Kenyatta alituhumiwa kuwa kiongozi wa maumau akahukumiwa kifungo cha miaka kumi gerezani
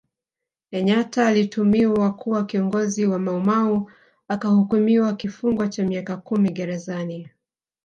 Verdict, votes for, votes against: rejected, 1, 2